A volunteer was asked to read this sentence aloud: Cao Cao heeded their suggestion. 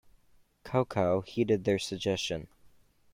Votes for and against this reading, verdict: 1, 2, rejected